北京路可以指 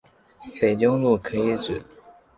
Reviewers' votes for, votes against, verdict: 2, 0, accepted